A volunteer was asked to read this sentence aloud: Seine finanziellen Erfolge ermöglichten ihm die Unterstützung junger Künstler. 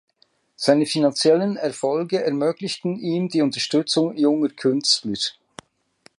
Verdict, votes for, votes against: rejected, 0, 2